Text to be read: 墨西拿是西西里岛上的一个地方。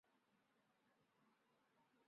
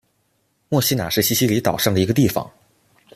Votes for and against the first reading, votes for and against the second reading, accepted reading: 1, 3, 2, 0, second